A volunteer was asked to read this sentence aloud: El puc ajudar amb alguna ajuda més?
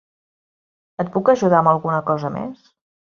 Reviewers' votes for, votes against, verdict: 2, 0, accepted